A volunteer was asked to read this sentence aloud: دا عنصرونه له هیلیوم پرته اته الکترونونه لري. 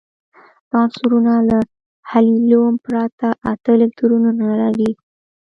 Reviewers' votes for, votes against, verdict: 2, 0, accepted